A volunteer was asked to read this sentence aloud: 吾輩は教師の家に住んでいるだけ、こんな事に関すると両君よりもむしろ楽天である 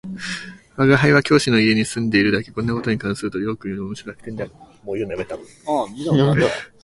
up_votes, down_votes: 0, 2